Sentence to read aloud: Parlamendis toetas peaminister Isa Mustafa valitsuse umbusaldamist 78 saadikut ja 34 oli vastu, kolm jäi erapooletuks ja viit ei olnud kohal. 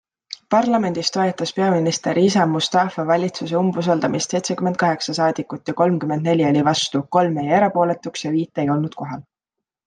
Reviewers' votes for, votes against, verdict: 0, 2, rejected